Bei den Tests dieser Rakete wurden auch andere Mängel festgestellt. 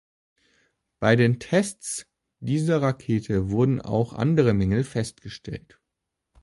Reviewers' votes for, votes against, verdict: 2, 0, accepted